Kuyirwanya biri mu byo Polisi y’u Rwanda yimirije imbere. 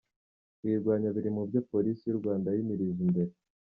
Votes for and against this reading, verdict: 2, 0, accepted